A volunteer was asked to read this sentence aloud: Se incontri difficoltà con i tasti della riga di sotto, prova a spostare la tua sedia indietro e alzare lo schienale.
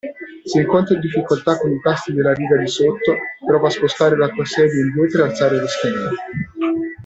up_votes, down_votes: 0, 2